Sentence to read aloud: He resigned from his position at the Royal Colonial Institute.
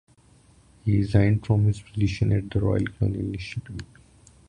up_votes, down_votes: 1, 2